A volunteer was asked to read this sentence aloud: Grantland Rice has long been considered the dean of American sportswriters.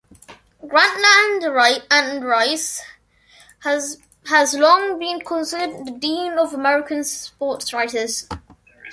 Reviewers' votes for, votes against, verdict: 0, 2, rejected